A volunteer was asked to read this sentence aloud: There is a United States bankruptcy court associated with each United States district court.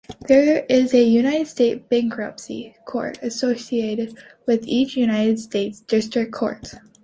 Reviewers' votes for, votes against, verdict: 0, 2, rejected